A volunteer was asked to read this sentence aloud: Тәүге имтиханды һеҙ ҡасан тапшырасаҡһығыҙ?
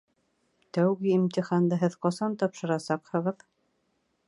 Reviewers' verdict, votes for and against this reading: accepted, 2, 0